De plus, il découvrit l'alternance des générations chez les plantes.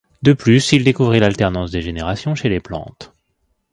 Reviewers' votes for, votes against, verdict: 0, 2, rejected